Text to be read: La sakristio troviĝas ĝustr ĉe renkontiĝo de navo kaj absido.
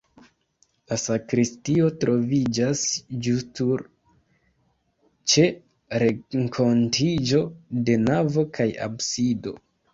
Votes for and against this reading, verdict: 0, 2, rejected